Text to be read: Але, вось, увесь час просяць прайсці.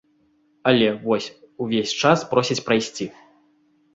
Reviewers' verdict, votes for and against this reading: accepted, 2, 0